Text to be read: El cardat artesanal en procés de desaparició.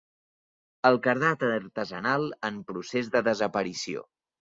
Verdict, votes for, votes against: rejected, 1, 2